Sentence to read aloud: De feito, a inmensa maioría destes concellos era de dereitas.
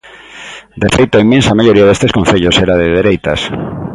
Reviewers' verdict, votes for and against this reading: accepted, 2, 0